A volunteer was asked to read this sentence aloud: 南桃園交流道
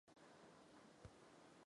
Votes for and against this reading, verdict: 0, 2, rejected